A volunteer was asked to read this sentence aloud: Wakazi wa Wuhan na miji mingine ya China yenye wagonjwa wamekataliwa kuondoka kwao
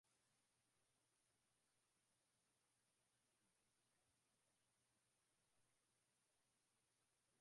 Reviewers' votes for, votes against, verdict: 0, 2, rejected